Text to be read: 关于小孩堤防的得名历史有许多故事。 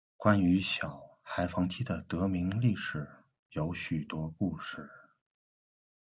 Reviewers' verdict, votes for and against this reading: accepted, 2, 0